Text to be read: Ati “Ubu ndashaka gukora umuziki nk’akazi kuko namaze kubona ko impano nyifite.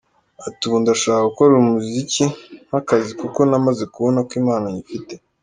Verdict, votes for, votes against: accepted, 2, 0